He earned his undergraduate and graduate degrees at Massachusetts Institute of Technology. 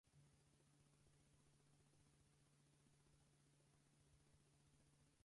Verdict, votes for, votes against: rejected, 0, 4